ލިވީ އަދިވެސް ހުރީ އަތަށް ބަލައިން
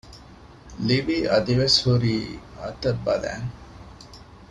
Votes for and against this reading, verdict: 2, 0, accepted